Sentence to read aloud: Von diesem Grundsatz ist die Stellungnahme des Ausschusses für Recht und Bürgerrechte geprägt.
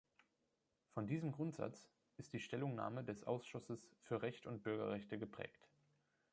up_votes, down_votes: 3, 0